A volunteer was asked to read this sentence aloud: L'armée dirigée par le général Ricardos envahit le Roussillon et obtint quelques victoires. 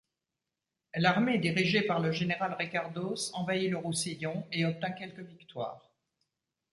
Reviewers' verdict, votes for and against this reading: accepted, 2, 0